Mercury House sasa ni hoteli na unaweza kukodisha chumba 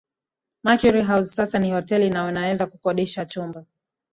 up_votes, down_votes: 2, 0